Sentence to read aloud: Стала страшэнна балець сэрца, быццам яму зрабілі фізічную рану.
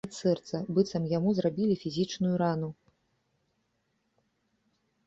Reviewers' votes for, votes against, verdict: 0, 2, rejected